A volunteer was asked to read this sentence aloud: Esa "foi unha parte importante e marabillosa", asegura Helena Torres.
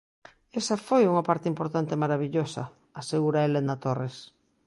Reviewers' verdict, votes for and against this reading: accepted, 2, 0